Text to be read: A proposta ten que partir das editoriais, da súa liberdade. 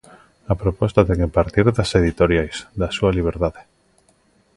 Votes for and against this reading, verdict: 2, 0, accepted